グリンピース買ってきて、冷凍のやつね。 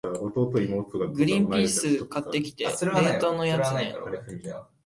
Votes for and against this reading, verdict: 2, 4, rejected